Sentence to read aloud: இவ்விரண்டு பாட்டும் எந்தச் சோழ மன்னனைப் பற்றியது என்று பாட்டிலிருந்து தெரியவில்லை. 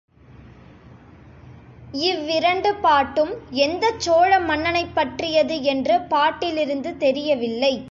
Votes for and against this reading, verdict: 2, 0, accepted